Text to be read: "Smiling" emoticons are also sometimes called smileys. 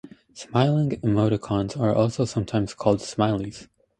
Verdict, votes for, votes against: accepted, 4, 0